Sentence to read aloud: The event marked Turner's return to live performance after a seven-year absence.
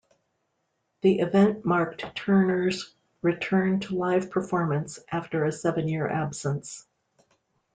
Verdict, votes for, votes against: accepted, 2, 0